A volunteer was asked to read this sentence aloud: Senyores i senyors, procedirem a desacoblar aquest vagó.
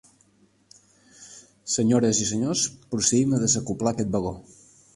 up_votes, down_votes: 0, 2